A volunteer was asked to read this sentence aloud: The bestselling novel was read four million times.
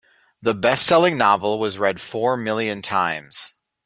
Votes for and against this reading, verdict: 2, 0, accepted